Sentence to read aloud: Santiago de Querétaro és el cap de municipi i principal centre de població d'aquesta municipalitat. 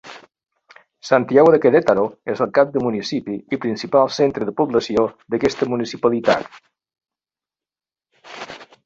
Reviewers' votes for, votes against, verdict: 2, 0, accepted